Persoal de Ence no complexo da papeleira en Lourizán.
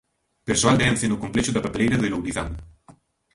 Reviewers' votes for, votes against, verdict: 1, 2, rejected